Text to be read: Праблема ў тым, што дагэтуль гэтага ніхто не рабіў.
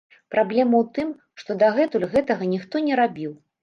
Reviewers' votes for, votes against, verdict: 2, 0, accepted